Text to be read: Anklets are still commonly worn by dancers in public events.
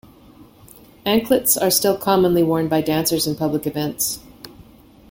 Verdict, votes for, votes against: accepted, 2, 0